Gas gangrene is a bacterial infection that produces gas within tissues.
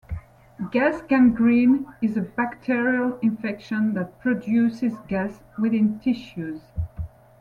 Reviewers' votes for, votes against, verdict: 2, 0, accepted